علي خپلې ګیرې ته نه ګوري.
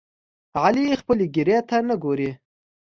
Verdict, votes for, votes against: accepted, 2, 0